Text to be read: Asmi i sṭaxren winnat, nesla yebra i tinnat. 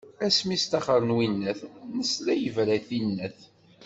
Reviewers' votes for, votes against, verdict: 2, 0, accepted